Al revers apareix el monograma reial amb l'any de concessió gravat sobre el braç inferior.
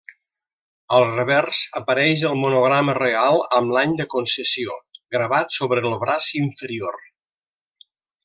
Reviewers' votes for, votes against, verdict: 1, 2, rejected